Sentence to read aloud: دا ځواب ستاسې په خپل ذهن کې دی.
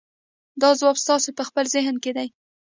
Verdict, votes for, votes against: accepted, 2, 0